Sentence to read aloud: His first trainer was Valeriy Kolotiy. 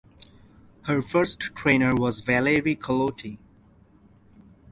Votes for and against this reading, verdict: 2, 2, rejected